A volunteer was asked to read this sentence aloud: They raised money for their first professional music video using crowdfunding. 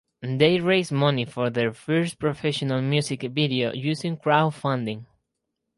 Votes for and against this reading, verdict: 2, 2, rejected